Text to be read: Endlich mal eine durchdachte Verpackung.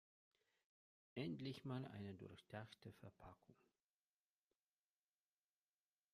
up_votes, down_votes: 2, 0